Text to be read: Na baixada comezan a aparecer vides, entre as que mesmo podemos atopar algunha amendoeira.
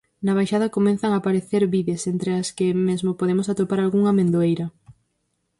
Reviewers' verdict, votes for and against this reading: rejected, 0, 4